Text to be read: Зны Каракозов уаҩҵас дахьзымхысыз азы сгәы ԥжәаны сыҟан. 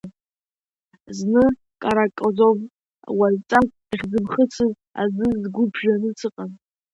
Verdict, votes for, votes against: rejected, 1, 2